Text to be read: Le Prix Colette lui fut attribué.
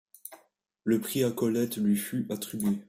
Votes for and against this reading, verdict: 1, 2, rejected